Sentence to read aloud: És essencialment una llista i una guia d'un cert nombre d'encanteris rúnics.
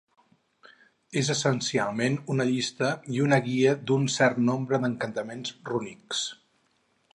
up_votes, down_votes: 0, 4